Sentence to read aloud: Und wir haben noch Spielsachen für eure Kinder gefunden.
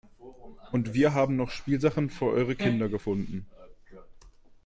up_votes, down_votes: 2, 0